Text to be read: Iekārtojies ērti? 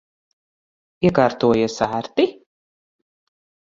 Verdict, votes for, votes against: rejected, 0, 4